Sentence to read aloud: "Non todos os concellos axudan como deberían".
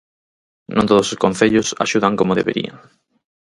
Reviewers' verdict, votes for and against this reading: accepted, 4, 0